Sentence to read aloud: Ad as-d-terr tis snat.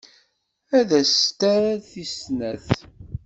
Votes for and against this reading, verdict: 0, 2, rejected